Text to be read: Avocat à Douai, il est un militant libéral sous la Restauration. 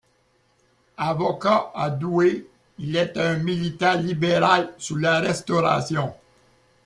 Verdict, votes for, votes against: accepted, 2, 1